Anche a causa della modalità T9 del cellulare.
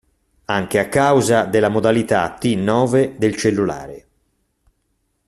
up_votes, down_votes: 0, 2